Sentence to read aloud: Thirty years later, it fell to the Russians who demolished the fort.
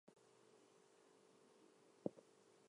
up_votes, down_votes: 0, 4